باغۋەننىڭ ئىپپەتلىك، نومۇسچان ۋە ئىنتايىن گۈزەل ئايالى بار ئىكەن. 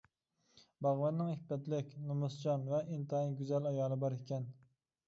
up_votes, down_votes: 2, 0